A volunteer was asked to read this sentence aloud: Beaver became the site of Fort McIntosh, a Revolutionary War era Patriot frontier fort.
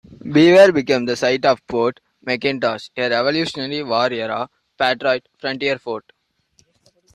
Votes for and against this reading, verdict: 1, 2, rejected